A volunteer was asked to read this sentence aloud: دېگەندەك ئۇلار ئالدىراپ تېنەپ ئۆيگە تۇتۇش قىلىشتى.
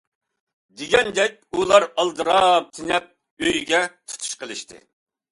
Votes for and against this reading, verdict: 2, 0, accepted